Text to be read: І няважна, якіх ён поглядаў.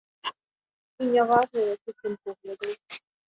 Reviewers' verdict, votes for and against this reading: rejected, 1, 2